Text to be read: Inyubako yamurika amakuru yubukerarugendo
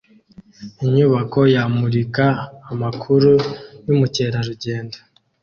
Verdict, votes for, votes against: accepted, 2, 1